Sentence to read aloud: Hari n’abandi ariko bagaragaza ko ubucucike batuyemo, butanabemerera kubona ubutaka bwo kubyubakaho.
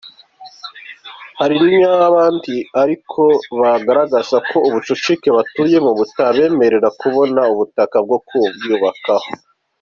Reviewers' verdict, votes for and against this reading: accepted, 2, 0